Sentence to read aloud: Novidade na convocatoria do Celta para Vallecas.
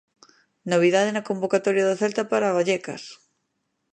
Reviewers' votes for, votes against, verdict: 2, 0, accepted